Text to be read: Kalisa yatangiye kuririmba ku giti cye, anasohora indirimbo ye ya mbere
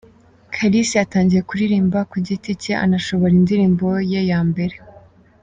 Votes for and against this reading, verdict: 1, 2, rejected